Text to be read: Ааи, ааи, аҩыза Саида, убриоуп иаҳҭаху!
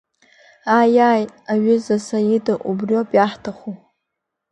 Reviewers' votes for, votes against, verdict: 2, 0, accepted